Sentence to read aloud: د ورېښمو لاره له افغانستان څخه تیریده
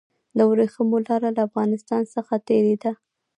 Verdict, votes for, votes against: rejected, 0, 2